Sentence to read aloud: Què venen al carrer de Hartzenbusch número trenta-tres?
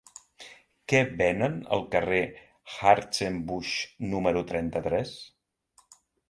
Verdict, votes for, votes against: rejected, 1, 2